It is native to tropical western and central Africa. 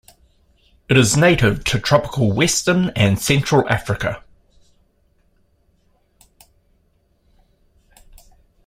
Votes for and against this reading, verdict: 2, 0, accepted